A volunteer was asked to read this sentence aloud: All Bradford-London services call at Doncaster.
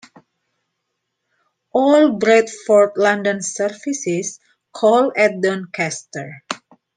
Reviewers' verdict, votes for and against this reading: accepted, 2, 0